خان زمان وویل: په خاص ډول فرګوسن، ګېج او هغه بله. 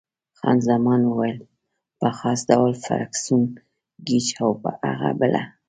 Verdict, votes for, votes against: rejected, 0, 2